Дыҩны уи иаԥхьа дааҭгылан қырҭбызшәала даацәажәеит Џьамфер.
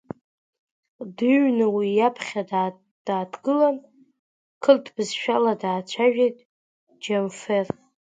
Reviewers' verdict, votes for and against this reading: accepted, 2, 0